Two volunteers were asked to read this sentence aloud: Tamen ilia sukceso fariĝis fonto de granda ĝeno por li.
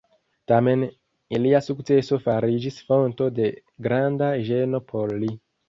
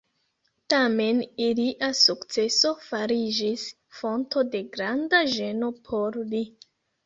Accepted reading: first